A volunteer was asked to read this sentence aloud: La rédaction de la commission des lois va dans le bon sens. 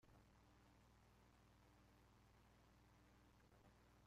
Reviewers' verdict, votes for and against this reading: rejected, 0, 2